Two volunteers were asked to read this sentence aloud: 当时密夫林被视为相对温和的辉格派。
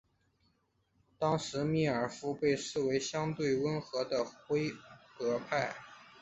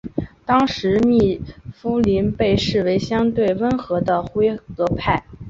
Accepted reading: second